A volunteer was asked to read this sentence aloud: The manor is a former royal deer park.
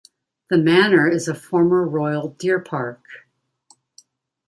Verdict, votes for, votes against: accepted, 2, 0